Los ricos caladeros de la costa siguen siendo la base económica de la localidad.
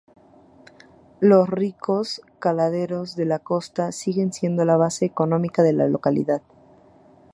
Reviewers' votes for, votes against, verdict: 4, 0, accepted